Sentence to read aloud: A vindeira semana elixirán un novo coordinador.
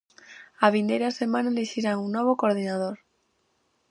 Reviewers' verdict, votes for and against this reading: accepted, 4, 0